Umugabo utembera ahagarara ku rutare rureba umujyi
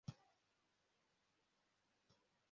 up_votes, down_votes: 0, 2